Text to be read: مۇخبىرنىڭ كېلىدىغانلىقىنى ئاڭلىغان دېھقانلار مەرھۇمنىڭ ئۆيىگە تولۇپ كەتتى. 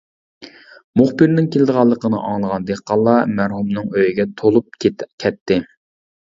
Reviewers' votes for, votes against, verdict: 1, 2, rejected